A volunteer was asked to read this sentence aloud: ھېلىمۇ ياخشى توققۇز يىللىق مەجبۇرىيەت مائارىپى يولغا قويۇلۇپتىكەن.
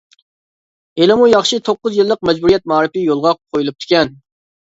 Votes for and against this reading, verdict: 2, 0, accepted